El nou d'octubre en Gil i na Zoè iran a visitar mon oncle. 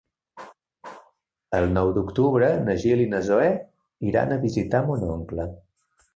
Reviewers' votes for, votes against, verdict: 3, 4, rejected